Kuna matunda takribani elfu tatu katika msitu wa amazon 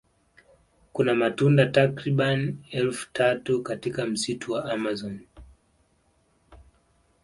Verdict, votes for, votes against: accepted, 2, 0